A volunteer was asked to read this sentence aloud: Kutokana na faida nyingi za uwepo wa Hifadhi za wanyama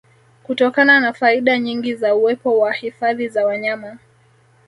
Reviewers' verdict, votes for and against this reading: accepted, 2, 1